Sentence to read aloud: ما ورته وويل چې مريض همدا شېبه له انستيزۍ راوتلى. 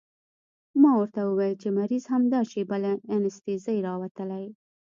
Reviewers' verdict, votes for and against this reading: accepted, 2, 1